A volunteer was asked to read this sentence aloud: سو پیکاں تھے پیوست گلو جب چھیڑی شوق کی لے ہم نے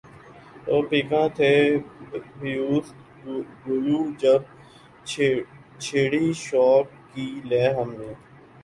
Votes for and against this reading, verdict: 0, 2, rejected